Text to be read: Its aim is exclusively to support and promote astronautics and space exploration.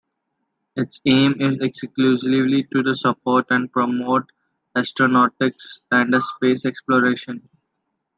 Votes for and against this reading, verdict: 0, 2, rejected